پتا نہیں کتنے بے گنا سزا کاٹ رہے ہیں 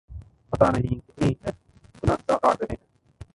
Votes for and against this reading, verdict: 0, 2, rejected